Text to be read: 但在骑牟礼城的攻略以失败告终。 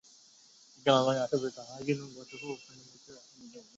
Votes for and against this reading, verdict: 2, 4, rejected